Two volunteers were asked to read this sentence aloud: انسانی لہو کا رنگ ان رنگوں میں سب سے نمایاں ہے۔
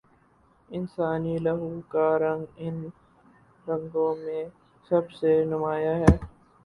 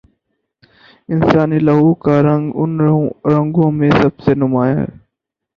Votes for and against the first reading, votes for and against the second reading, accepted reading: 2, 0, 0, 4, first